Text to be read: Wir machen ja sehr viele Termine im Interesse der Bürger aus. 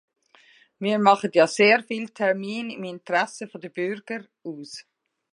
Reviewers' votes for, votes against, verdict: 1, 2, rejected